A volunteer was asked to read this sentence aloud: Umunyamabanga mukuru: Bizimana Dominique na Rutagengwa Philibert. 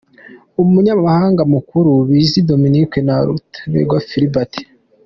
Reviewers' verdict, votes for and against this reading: rejected, 0, 2